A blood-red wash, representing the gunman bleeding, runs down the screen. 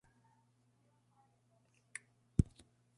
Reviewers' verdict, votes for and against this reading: rejected, 0, 2